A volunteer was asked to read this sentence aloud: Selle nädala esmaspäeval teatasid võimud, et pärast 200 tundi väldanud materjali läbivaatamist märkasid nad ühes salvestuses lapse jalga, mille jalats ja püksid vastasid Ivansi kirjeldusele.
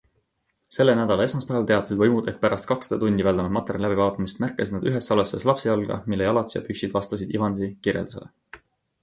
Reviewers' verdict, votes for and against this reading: rejected, 0, 2